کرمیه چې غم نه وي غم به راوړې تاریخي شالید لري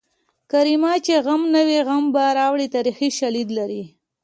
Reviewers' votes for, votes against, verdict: 2, 0, accepted